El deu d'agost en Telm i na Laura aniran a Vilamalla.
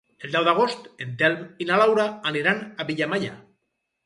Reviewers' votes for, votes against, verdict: 0, 2, rejected